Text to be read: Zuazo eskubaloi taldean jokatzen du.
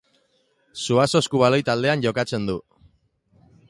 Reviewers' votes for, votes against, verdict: 2, 0, accepted